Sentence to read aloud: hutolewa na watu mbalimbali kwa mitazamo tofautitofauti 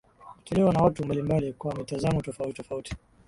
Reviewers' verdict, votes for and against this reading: accepted, 8, 4